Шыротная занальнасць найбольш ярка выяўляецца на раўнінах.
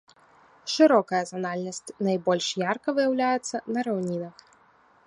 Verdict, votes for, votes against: rejected, 0, 2